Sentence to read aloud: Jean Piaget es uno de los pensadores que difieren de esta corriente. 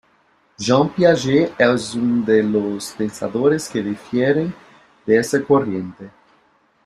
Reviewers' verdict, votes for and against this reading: rejected, 1, 2